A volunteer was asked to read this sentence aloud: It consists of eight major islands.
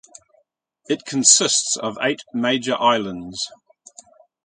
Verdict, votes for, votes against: accepted, 2, 0